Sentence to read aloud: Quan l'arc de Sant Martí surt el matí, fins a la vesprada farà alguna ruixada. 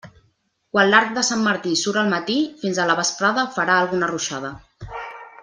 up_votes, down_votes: 0, 2